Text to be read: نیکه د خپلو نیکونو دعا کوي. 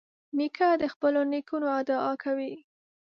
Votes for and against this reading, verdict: 2, 0, accepted